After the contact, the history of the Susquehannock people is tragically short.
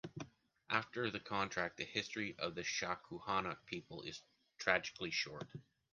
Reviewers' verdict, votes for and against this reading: rejected, 1, 2